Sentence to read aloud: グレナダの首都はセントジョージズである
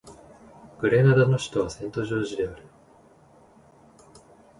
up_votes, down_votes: 1, 2